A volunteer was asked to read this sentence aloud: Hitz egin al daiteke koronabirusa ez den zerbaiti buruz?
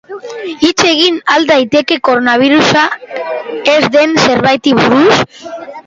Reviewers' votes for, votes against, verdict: 2, 1, accepted